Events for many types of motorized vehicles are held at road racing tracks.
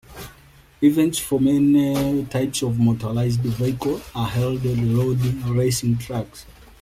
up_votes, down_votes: 2, 0